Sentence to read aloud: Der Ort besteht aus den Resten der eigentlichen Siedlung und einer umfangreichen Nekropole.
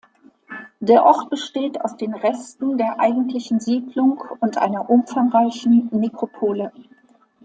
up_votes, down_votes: 2, 0